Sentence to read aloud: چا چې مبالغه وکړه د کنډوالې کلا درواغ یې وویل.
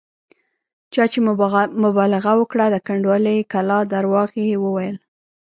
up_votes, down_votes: 2, 3